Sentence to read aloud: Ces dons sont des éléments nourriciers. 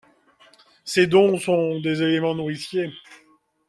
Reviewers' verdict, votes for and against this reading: accepted, 2, 0